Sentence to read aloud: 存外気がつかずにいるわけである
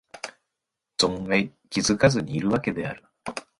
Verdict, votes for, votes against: accepted, 3, 2